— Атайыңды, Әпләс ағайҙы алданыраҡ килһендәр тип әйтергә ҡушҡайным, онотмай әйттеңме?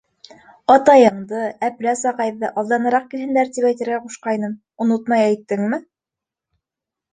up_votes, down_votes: 2, 0